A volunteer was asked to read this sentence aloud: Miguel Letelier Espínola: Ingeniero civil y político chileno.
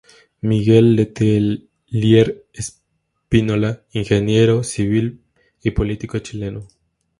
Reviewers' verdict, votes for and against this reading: accepted, 2, 0